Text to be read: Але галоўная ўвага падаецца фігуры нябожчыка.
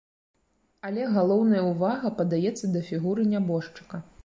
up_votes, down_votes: 1, 2